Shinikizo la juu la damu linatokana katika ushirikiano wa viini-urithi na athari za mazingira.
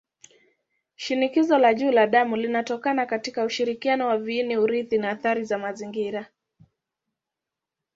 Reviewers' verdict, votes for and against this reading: accepted, 2, 0